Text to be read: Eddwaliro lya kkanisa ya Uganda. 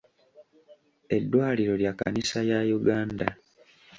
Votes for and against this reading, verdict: 2, 0, accepted